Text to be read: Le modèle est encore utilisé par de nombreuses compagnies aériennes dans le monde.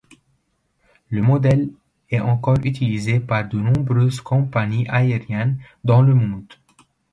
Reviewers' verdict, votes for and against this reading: rejected, 1, 2